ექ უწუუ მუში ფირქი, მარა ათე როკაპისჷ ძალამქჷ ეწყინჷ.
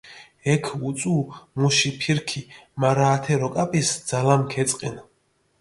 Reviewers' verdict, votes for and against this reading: accepted, 2, 0